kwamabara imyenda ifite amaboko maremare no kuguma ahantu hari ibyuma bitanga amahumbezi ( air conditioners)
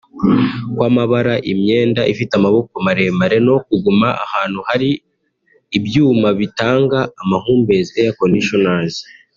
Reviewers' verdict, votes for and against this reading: accepted, 2, 1